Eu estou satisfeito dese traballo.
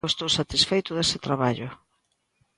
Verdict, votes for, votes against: rejected, 0, 2